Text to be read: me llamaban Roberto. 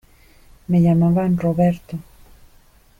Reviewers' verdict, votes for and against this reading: accepted, 2, 0